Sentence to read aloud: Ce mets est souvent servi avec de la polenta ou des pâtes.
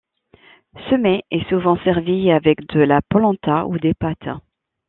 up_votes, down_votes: 2, 0